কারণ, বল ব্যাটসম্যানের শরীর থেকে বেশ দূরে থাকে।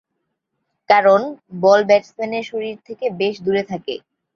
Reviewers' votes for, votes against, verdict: 3, 0, accepted